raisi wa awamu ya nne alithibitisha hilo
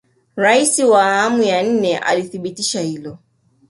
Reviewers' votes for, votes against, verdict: 2, 0, accepted